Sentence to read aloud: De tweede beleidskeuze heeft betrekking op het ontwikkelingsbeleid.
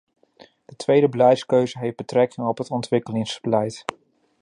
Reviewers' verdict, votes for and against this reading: rejected, 0, 2